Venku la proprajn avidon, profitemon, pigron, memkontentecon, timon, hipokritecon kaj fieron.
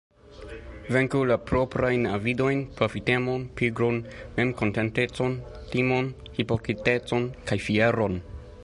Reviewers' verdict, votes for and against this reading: rejected, 0, 2